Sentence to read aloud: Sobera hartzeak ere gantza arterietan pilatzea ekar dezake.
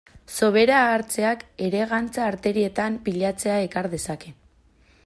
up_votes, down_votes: 0, 2